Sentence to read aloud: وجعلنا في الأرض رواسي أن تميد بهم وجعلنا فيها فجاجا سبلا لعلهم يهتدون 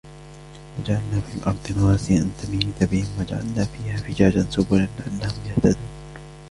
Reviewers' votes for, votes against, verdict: 2, 0, accepted